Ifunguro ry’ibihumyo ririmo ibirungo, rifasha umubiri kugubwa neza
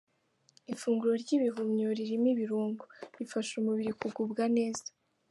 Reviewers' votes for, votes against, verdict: 2, 0, accepted